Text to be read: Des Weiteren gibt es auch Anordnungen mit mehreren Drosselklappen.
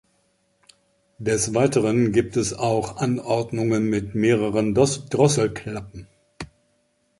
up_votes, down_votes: 0, 2